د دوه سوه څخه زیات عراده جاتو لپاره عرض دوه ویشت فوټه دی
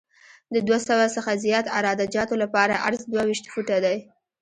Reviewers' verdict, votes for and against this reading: rejected, 1, 2